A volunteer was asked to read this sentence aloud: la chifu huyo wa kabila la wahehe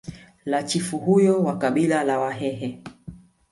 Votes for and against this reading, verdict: 2, 1, accepted